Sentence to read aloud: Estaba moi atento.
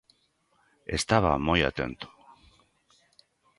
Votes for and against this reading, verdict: 2, 0, accepted